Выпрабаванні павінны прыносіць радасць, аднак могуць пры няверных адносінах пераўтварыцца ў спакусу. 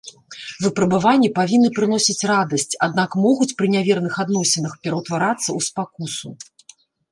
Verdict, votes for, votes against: rejected, 0, 2